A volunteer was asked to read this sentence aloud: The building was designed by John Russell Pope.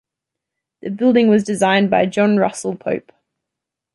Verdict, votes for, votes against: accepted, 2, 0